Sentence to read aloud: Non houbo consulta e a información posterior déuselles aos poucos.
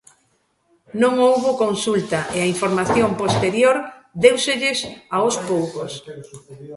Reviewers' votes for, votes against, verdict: 1, 2, rejected